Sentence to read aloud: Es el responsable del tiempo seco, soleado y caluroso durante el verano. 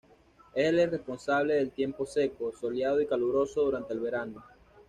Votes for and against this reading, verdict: 2, 0, accepted